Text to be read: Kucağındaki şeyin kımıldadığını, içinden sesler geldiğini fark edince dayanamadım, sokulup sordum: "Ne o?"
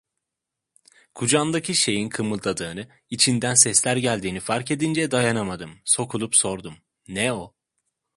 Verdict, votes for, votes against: accepted, 2, 0